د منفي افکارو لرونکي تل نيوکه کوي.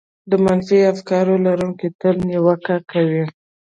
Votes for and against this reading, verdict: 2, 1, accepted